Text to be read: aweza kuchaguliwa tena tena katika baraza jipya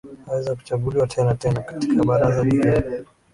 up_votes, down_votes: 2, 1